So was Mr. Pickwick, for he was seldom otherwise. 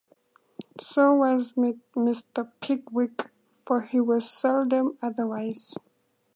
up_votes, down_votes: 2, 0